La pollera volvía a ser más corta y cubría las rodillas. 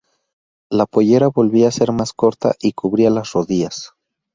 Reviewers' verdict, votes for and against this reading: rejected, 0, 2